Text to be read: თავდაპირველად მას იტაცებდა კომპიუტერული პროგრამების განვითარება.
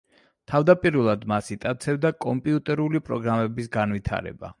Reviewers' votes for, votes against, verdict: 2, 0, accepted